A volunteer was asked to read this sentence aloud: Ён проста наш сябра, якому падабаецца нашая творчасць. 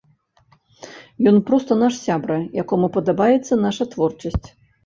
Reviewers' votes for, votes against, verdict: 1, 2, rejected